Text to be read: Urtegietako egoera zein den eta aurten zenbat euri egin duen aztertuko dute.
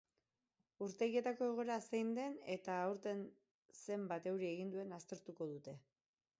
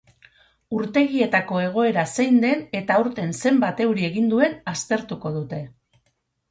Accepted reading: second